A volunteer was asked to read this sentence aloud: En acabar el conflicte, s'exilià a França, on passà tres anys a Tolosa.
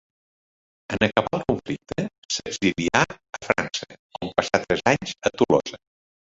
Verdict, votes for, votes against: rejected, 1, 2